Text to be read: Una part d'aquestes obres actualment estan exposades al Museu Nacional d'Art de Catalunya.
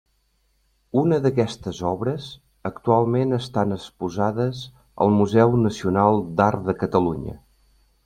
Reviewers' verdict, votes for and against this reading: rejected, 1, 2